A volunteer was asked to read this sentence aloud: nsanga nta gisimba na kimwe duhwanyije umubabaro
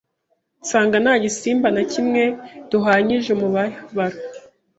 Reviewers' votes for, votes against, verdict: 0, 2, rejected